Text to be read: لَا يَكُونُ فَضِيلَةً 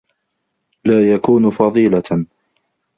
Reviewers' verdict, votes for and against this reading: accepted, 2, 0